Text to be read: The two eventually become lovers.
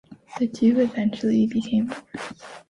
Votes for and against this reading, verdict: 0, 2, rejected